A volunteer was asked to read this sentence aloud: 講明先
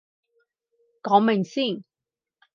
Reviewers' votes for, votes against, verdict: 4, 0, accepted